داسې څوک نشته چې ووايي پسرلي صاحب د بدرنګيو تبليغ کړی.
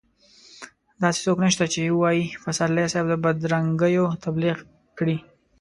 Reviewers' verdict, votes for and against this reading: accepted, 2, 0